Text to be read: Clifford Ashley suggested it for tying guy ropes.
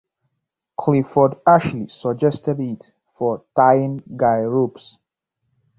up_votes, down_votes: 2, 1